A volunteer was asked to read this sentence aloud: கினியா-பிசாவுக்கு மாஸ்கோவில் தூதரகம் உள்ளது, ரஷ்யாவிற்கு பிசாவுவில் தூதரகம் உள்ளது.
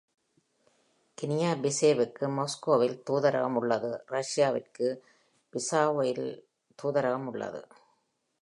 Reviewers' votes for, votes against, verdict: 1, 2, rejected